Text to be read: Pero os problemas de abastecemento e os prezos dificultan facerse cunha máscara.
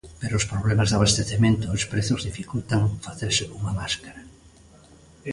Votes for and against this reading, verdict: 2, 0, accepted